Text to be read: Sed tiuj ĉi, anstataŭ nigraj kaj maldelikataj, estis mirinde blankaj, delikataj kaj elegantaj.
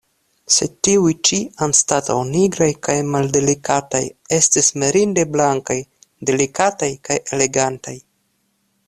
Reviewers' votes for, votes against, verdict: 2, 0, accepted